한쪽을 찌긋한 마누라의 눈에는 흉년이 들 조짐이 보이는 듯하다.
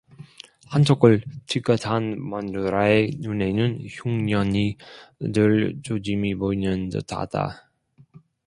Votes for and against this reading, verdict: 2, 1, accepted